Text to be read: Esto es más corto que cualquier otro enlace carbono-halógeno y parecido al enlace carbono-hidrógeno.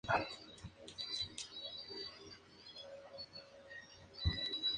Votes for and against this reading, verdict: 0, 2, rejected